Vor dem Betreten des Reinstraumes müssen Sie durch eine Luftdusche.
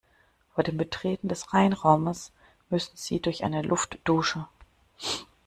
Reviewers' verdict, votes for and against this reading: rejected, 0, 2